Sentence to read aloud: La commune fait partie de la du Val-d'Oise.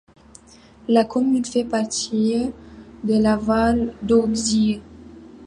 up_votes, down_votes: 0, 2